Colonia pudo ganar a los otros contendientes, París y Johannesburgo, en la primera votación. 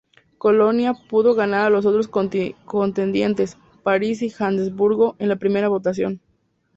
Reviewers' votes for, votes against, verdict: 4, 0, accepted